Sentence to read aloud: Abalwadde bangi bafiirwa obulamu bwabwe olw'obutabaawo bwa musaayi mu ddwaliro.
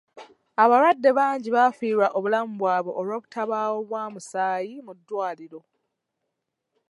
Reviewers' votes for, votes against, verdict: 0, 2, rejected